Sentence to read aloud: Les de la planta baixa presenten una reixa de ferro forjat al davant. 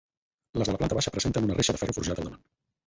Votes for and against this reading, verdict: 0, 4, rejected